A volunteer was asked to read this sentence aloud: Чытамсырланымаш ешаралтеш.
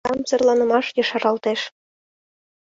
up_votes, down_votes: 1, 2